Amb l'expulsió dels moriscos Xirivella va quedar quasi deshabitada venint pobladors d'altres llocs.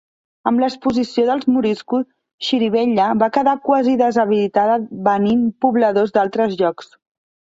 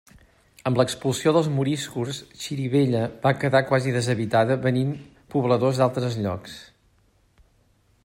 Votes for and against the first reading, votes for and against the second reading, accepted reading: 1, 2, 2, 0, second